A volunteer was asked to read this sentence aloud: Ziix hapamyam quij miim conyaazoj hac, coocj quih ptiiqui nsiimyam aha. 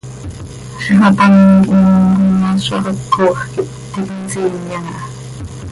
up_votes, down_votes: 1, 2